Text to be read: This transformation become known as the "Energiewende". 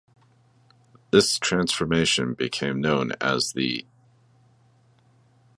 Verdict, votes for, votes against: rejected, 0, 2